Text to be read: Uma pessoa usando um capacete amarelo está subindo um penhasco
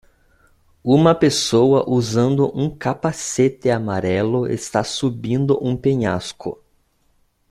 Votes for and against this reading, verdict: 2, 0, accepted